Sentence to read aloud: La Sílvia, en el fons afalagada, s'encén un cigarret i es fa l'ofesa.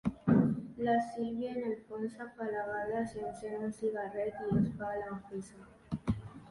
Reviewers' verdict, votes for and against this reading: rejected, 0, 3